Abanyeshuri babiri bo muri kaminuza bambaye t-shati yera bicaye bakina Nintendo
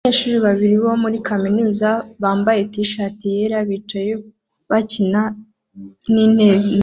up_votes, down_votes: 0, 2